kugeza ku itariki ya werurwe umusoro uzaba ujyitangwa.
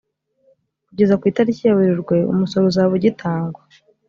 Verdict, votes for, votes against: accepted, 4, 0